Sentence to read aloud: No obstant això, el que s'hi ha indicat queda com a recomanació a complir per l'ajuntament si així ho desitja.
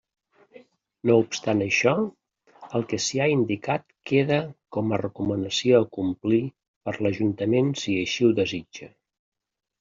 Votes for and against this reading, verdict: 2, 0, accepted